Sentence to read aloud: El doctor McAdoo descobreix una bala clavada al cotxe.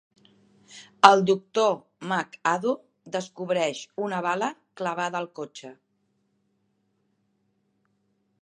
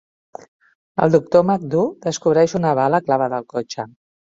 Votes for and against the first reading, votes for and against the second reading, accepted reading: 2, 0, 1, 2, first